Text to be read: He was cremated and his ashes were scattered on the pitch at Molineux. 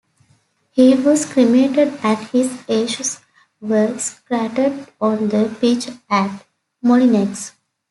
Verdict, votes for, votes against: rejected, 2, 3